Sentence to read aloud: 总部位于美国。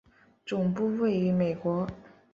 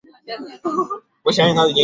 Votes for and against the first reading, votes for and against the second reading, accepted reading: 2, 0, 2, 3, first